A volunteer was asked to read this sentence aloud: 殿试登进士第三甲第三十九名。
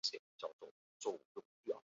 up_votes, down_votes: 2, 3